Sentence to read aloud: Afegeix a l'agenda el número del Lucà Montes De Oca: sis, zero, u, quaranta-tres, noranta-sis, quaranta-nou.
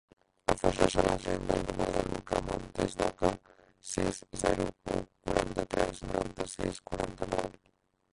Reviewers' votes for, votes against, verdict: 0, 2, rejected